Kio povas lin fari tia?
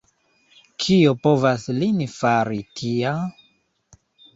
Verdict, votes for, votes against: rejected, 1, 2